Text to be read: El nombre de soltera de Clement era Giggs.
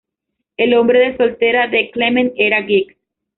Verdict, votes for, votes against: rejected, 0, 2